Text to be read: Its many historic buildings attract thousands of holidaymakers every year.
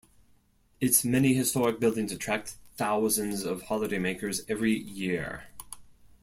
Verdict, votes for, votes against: accepted, 2, 0